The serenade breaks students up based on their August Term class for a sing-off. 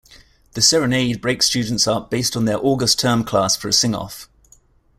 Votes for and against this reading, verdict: 2, 0, accepted